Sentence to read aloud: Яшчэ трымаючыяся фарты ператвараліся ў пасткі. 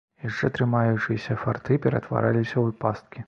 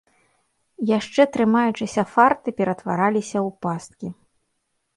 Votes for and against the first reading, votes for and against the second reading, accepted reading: 2, 0, 1, 2, first